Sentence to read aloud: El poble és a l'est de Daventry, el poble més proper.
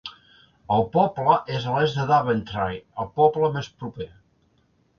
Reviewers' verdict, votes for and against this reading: accepted, 2, 0